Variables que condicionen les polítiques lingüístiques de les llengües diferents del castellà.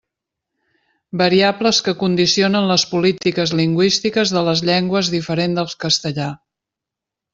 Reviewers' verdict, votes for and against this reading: rejected, 1, 2